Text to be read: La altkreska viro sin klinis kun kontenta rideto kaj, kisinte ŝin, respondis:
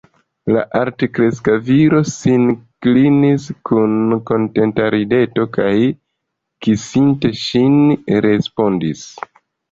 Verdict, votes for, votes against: accepted, 2, 0